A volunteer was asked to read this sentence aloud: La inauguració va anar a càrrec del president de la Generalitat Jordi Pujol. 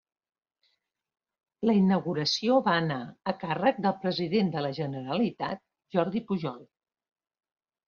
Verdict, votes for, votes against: accepted, 3, 0